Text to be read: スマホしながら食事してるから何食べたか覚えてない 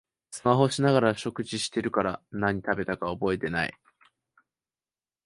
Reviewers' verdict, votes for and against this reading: accepted, 2, 0